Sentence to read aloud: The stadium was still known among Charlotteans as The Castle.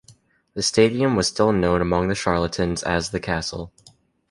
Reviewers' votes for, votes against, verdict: 2, 0, accepted